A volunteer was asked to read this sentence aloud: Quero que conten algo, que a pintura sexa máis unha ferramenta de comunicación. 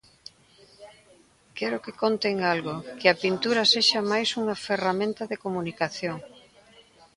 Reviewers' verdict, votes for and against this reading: rejected, 1, 2